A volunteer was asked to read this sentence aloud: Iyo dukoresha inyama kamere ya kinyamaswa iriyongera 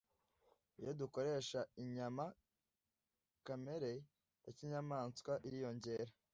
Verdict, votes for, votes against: accepted, 2, 0